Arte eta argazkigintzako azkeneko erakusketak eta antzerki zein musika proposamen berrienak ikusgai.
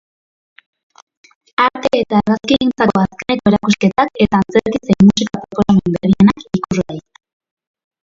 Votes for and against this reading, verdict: 1, 2, rejected